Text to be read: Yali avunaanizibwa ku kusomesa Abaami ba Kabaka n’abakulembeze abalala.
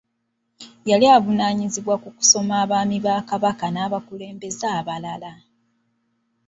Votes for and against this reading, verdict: 1, 2, rejected